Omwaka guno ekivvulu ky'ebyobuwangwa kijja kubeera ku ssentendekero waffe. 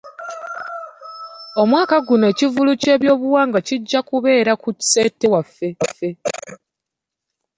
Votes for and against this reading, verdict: 1, 2, rejected